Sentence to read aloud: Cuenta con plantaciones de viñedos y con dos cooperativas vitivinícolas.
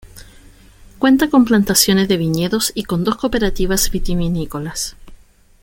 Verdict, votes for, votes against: accepted, 2, 0